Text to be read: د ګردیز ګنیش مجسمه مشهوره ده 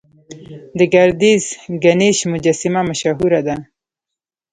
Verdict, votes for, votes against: rejected, 1, 2